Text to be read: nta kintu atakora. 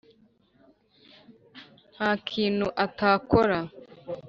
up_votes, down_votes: 4, 0